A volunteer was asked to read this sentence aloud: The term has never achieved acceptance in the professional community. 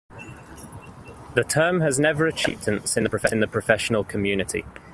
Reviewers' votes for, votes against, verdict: 1, 2, rejected